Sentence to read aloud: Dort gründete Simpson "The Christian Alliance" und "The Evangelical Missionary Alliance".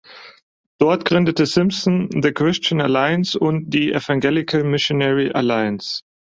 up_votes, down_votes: 4, 0